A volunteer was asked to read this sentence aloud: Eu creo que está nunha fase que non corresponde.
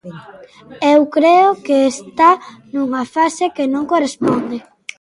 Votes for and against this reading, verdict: 2, 0, accepted